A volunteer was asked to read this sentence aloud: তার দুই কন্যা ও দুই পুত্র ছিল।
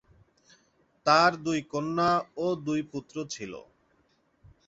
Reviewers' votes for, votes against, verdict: 2, 0, accepted